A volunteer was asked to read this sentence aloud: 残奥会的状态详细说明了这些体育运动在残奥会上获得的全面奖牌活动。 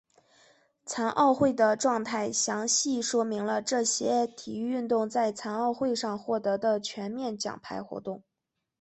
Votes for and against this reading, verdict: 2, 0, accepted